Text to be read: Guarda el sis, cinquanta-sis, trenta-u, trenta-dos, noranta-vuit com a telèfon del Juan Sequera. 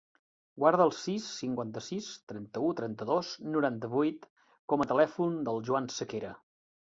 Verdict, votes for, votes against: accepted, 2, 1